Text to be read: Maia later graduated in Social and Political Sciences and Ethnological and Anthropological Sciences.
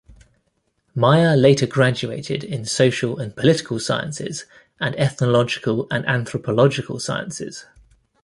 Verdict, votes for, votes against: accepted, 2, 0